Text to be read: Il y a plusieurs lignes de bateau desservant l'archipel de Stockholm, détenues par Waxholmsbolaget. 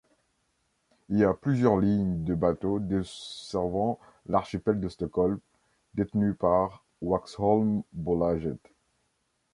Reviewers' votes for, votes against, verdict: 0, 2, rejected